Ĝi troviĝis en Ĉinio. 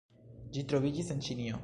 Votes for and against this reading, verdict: 0, 2, rejected